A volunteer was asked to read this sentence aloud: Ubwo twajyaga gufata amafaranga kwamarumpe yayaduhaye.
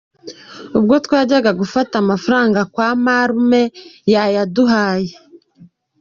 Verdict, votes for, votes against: accepted, 2, 0